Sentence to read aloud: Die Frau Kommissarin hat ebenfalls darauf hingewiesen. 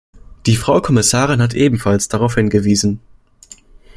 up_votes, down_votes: 2, 0